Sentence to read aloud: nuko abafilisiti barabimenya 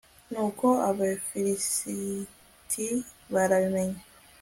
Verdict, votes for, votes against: accepted, 2, 0